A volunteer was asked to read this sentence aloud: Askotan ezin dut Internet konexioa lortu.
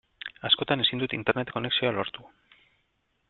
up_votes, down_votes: 2, 0